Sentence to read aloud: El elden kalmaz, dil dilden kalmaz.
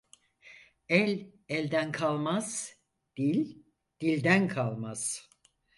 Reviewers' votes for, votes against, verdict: 4, 0, accepted